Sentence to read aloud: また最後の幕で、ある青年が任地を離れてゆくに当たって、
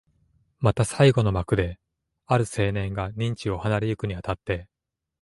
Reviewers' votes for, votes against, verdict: 3, 0, accepted